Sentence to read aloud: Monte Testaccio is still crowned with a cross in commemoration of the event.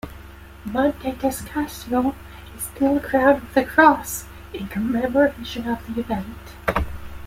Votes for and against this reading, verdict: 2, 1, accepted